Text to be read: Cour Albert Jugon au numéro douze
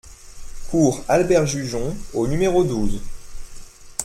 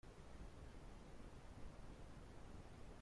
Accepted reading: first